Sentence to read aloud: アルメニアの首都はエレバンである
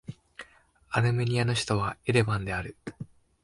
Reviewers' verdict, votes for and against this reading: accepted, 2, 0